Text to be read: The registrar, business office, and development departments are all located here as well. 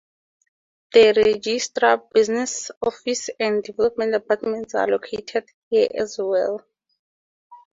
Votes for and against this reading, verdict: 2, 2, rejected